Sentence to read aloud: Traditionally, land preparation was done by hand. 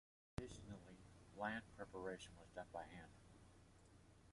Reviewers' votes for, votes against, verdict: 2, 1, accepted